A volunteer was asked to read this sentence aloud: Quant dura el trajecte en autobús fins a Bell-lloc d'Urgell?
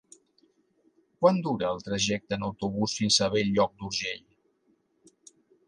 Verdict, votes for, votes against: accepted, 3, 0